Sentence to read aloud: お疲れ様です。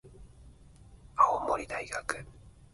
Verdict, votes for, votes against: rejected, 1, 2